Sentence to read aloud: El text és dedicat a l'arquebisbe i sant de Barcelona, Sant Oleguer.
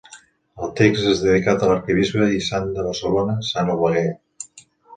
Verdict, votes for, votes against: accepted, 2, 0